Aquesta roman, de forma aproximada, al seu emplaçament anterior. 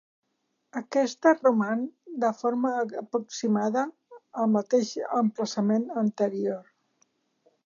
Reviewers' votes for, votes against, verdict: 0, 2, rejected